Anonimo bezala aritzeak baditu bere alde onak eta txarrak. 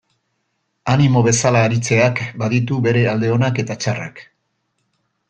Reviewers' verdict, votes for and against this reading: rejected, 0, 2